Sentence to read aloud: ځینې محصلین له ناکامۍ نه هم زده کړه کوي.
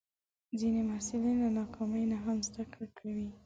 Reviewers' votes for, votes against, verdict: 1, 2, rejected